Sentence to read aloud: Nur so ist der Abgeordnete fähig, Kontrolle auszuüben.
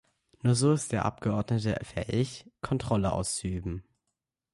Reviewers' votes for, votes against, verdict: 2, 0, accepted